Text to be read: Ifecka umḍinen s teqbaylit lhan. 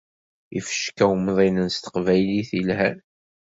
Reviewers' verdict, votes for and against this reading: accepted, 2, 1